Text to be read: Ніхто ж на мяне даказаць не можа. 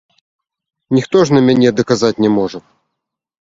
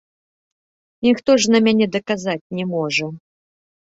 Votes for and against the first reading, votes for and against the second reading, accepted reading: 0, 2, 2, 1, second